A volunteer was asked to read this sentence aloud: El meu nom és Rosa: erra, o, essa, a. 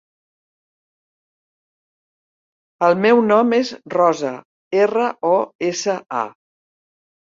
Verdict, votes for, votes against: accepted, 3, 0